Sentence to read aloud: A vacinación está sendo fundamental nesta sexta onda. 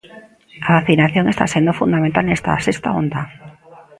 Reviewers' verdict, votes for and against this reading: rejected, 0, 2